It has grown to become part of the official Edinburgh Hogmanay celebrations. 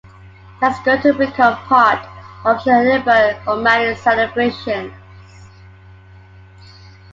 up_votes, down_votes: 0, 2